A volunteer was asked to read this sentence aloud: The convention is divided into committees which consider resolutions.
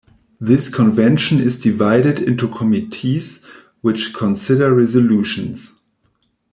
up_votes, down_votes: 0, 2